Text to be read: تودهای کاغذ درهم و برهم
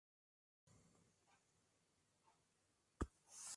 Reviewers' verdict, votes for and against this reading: rejected, 0, 2